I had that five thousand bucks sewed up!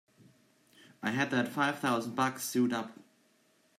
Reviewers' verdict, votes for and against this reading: accepted, 2, 1